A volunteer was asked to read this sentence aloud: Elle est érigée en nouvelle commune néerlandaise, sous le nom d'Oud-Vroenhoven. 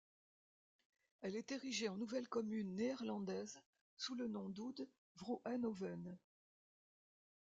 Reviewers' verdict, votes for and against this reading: accepted, 2, 0